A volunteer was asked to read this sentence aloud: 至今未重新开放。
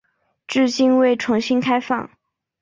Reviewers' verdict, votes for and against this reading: accepted, 5, 1